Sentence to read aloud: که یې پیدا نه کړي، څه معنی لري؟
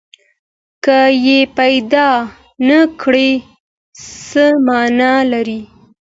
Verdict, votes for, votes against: accepted, 2, 0